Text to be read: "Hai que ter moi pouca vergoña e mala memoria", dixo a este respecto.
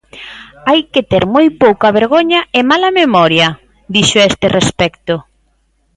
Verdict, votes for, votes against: accepted, 2, 0